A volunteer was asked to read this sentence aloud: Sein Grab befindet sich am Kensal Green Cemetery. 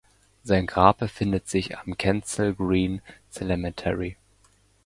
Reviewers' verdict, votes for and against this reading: rejected, 0, 2